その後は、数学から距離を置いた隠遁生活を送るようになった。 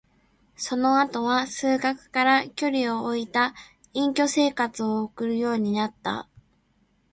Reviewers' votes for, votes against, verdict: 1, 2, rejected